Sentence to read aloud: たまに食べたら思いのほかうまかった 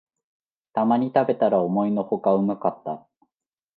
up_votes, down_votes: 2, 0